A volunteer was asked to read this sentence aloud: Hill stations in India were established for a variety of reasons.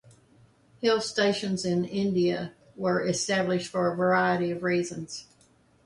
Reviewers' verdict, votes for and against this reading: accepted, 2, 0